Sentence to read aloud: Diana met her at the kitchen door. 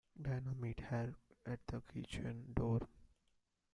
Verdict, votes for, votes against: rejected, 1, 2